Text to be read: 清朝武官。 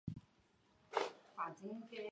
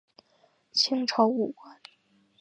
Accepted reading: second